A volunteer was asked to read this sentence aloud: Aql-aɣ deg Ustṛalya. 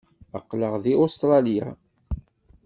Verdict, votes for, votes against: accepted, 2, 0